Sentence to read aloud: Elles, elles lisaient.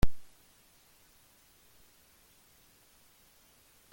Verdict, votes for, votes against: rejected, 0, 2